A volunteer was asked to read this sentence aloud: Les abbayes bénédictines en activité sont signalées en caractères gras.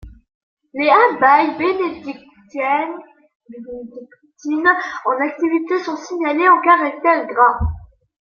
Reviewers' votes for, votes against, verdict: 0, 2, rejected